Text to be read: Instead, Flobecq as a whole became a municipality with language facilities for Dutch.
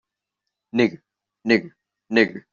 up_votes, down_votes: 0, 2